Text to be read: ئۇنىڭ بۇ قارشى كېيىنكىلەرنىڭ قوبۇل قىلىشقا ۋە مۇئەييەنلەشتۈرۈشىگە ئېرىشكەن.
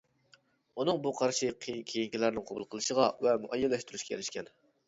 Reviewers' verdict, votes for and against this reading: rejected, 1, 2